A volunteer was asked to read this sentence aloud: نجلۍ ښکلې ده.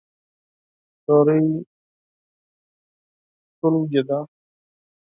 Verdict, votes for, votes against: rejected, 2, 4